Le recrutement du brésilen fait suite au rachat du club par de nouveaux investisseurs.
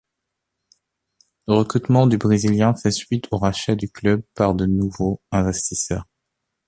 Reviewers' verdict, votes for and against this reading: accepted, 2, 0